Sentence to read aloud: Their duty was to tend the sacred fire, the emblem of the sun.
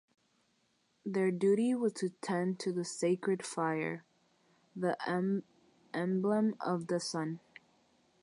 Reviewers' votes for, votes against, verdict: 0, 6, rejected